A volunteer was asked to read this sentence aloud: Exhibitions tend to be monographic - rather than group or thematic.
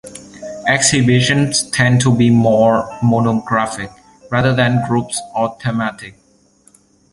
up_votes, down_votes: 1, 2